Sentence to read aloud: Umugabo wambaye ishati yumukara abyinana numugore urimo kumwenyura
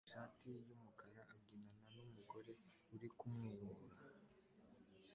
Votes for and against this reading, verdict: 2, 0, accepted